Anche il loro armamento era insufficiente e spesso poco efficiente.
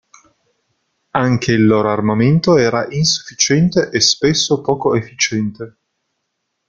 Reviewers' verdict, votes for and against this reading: accepted, 2, 0